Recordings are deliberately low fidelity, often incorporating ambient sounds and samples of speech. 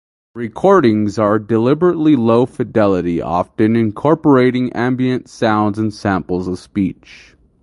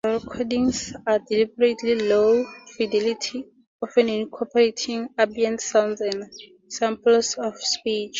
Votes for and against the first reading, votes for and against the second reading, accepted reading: 8, 0, 2, 2, first